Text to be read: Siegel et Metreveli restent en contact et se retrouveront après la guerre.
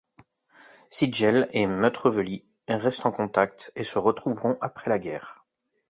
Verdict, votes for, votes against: rejected, 1, 2